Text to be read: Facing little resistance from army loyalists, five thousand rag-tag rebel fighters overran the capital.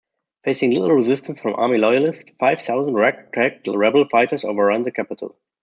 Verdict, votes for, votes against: rejected, 1, 2